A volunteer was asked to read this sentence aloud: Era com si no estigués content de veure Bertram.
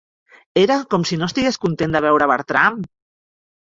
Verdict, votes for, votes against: accepted, 3, 0